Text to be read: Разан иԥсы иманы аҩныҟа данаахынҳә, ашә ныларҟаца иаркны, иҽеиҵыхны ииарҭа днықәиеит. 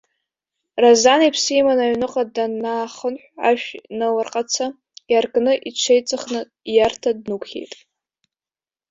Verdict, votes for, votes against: rejected, 0, 2